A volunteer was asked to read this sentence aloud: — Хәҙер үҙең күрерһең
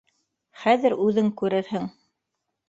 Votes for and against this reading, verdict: 2, 0, accepted